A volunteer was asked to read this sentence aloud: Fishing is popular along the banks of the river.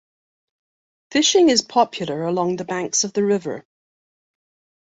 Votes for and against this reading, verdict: 2, 0, accepted